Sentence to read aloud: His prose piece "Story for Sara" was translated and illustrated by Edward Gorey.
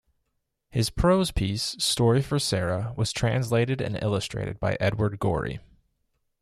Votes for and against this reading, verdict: 2, 0, accepted